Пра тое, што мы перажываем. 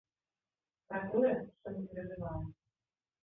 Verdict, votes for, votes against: rejected, 0, 2